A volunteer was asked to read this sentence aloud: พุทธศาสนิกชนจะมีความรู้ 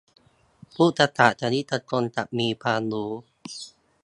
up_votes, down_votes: 2, 2